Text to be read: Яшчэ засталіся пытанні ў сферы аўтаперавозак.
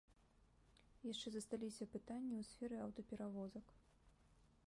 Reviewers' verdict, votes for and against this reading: accepted, 2, 0